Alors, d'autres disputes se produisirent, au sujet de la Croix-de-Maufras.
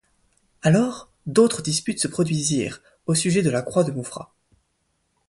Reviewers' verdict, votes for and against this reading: accepted, 2, 0